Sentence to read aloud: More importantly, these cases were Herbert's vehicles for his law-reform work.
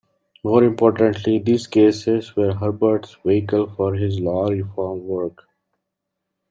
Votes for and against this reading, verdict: 1, 2, rejected